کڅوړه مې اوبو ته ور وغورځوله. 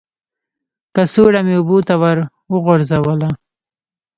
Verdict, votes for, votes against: rejected, 1, 2